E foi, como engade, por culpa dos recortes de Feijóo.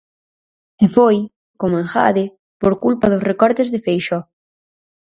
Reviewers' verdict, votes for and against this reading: rejected, 0, 4